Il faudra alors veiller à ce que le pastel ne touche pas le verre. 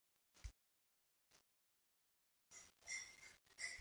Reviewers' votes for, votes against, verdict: 0, 2, rejected